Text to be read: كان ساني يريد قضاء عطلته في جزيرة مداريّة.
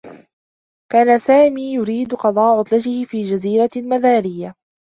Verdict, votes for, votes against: rejected, 1, 2